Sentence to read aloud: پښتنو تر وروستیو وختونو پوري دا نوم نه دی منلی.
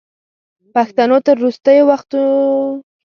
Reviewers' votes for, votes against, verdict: 0, 2, rejected